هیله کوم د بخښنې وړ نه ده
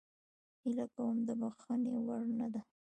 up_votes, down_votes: 2, 1